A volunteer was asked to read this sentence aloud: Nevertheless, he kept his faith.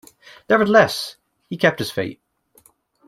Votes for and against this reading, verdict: 2, 0, accepted